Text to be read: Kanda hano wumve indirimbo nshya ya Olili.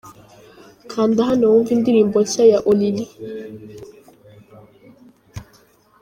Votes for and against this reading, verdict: 1, 2, rejected